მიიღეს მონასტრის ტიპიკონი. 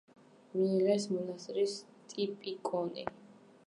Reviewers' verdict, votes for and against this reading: rejected, 1, 2